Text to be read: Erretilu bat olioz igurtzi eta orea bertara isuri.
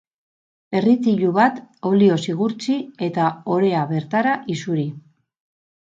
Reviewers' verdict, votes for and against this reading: rejected, 0, 2